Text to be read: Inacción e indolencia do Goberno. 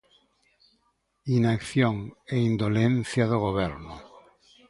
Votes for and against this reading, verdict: 2, 0, accepted